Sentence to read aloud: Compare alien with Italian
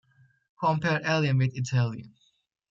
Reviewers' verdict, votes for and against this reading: accepted, 2, 0